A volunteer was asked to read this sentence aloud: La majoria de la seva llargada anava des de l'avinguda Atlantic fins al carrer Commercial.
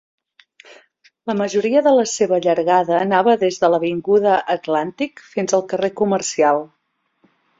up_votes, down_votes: 2, 0